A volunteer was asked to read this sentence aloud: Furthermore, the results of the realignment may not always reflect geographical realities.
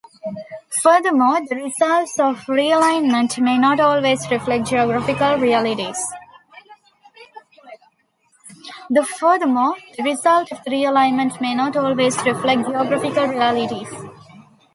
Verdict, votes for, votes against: rejected, 0, 2